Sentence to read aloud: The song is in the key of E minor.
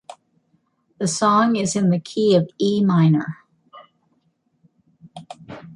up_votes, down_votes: 2, 0